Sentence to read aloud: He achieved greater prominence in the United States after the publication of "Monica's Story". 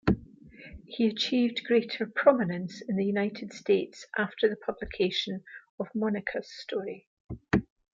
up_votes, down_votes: 2, 0